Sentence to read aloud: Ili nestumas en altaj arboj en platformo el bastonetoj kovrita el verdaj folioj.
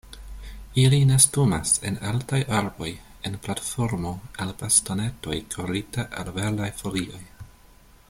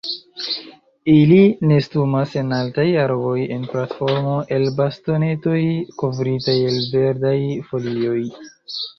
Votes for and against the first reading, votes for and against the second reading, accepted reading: 2, 0, 1, 2, first